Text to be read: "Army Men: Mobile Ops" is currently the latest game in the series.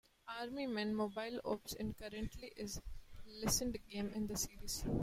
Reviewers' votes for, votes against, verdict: 0, 3, rejected